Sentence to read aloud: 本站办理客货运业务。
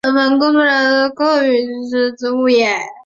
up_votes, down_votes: 1, 2